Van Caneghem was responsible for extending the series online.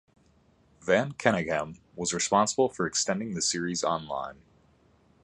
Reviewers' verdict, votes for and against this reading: accepted, 2, 0